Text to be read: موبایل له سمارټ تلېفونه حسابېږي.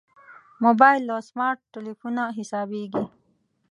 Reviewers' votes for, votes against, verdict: 2, 0, accepted